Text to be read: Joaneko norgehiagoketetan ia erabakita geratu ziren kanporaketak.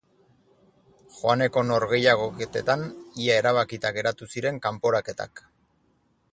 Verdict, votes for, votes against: accepted, 4, 0